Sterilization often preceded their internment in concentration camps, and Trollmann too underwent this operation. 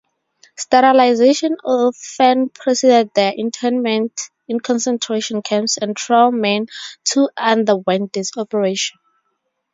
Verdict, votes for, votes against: rejected, 0, 2